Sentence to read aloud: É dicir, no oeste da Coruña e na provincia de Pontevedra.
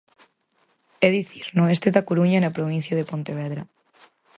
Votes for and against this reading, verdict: 4, 0, accepted